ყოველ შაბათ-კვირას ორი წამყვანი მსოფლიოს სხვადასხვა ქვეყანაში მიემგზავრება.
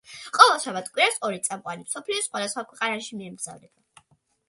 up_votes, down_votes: 2, 0